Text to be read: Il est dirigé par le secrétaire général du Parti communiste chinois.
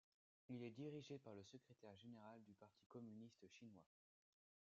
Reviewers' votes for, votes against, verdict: 1, 2, rejected